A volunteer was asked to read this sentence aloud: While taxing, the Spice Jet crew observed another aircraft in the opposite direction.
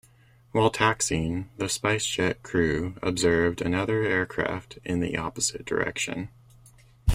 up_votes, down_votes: 2, 0